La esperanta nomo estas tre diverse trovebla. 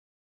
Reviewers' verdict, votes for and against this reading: rejected, 1, 2